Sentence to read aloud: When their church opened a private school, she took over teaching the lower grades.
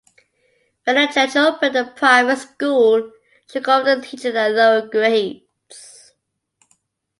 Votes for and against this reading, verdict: 2, 1, accepted